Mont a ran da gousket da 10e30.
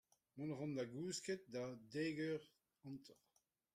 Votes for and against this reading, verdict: 0, 2, rejected